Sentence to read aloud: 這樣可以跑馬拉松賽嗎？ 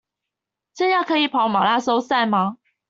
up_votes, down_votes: 2, 0